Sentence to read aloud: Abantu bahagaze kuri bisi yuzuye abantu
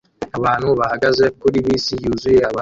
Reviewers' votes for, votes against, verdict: 1, 2, rejected